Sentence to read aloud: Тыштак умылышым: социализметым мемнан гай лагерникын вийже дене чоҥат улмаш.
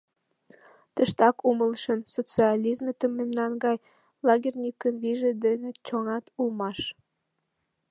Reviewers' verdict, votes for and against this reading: accepted, 2, 0